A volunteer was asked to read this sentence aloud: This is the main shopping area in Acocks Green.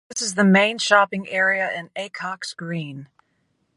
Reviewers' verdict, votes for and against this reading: accepted, 2, 1